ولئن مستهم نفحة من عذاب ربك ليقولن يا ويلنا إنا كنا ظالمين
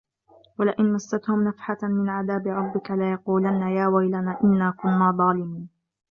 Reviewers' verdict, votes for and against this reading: rejected, 1, 2